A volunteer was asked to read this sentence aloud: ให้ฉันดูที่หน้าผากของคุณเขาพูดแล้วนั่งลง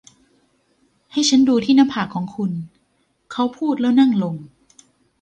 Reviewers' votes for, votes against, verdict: 0, 2, rejected